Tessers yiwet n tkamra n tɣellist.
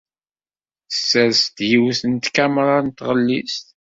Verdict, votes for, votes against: rejected, 1, 2